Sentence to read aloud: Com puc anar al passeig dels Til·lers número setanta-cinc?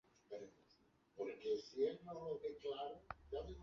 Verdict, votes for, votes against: rejected, 0, 2